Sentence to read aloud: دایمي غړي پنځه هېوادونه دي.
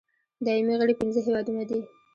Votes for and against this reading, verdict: 2, 0, accepted